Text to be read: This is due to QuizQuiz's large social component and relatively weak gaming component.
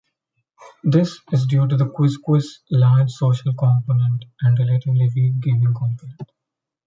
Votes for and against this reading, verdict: 0, 2, rejected